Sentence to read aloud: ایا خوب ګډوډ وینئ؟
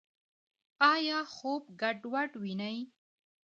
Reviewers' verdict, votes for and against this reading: accepted, 2, 1